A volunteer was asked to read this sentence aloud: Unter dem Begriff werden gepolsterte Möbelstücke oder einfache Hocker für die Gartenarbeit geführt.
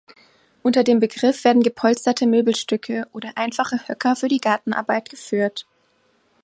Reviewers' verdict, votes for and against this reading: rejected, 0, 2